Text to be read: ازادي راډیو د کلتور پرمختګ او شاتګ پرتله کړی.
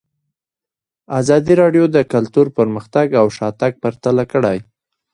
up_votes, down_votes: 2, 0